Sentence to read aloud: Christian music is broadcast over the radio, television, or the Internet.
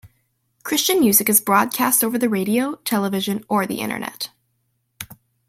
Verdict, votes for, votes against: accepted, 2, 0